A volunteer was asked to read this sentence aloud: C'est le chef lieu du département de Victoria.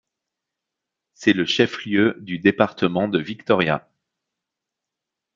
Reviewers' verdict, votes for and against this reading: accepted, 2, 0